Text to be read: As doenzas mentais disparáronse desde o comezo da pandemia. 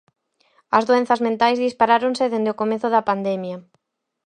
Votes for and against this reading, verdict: 0, 4, rejected